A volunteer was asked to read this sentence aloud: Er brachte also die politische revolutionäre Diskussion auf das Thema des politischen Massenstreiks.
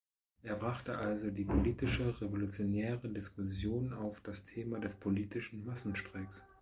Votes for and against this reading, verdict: 1, 2, rejected